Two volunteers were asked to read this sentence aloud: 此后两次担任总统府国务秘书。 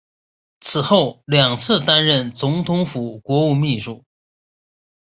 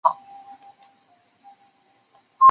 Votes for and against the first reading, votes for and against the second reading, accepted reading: 2, 0, 0, 5, first